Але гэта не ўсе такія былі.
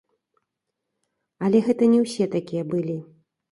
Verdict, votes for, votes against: rejected, 2, 3